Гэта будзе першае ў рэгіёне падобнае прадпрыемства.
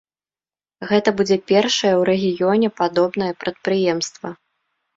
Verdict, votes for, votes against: accepted, 2, 0